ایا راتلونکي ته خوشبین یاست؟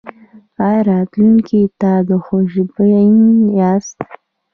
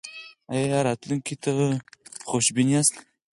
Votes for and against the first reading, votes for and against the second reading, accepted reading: 1, 2, 4, 2, second